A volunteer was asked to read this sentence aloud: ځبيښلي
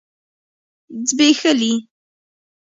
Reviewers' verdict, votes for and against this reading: rejected, 1, 2